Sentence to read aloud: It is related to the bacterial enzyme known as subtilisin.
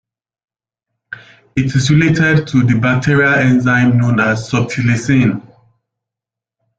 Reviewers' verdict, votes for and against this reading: accepted, 2, 1